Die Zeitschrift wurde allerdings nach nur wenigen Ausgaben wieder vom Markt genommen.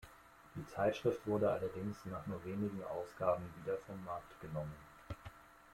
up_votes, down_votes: 2, 0